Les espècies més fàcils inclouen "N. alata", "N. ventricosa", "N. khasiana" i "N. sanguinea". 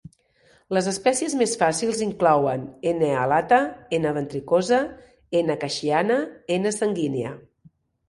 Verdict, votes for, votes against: rejected, 0, 2